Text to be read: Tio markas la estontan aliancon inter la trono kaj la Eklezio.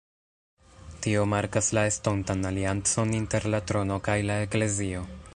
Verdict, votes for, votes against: accepted, 2, 0